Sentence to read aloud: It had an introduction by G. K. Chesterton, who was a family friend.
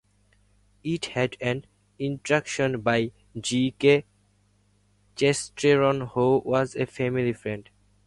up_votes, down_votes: 0, 4